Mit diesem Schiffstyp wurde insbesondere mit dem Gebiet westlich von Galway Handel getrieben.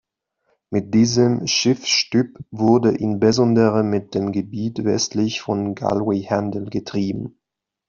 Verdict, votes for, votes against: rejected, 1, 2